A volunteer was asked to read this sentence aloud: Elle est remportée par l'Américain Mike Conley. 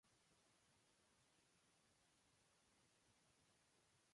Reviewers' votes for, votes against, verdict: 0, 2, rejected